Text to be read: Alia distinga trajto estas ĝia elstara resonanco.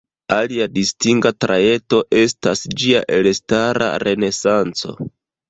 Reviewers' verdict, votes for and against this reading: rejected, 0, 2